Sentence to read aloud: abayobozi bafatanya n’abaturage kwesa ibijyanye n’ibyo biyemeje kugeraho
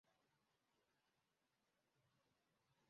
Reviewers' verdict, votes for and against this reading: rejected, 0, 2